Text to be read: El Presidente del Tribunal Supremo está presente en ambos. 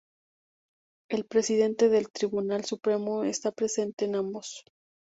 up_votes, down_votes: 2, 0